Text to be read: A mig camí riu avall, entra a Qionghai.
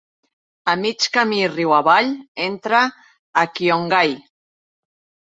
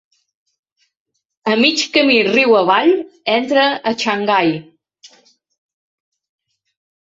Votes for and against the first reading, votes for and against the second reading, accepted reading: 2, 0, 1, 2, first